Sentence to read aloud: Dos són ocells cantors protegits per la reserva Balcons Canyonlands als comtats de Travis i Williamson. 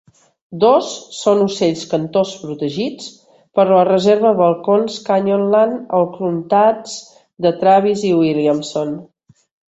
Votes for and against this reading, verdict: 1, 2, rejected